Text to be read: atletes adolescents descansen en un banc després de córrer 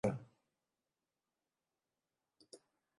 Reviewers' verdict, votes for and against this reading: rejected, 1, 2